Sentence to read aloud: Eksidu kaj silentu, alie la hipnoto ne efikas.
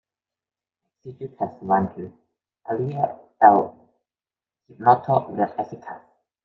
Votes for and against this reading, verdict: 0, 3, rejected